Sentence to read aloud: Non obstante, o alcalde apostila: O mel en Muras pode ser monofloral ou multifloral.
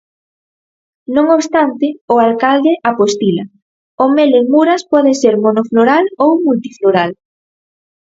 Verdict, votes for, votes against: accepted, 4, 0